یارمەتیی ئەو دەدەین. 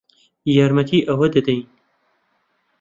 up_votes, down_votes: 2, 1